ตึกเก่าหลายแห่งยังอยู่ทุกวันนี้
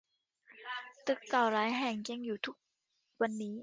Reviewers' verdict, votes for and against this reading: rejected, 0, 2